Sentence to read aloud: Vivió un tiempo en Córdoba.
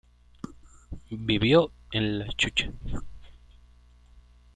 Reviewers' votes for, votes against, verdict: 1, 2, rejected